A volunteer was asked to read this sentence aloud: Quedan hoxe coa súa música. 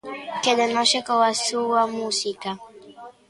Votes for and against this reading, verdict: 1, 2, rejected